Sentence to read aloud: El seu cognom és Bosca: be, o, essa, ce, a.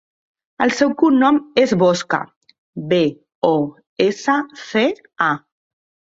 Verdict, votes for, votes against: rejected, 0, 2